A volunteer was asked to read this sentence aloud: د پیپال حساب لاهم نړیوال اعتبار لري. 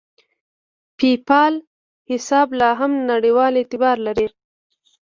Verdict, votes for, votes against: accepted, 2, 0